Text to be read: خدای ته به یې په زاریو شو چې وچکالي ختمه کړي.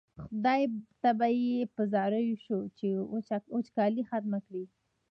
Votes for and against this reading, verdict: 0, 2, rejected